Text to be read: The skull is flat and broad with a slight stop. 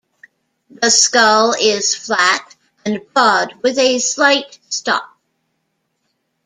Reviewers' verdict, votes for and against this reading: rejected, 0, 2